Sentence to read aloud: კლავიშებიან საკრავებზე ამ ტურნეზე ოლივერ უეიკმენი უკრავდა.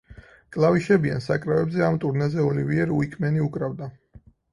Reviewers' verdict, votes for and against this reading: rejected, 2, 4